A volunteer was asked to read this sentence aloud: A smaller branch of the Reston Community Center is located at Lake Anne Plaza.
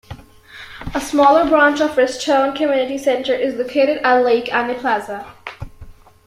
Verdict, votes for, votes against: rejected, 1, 2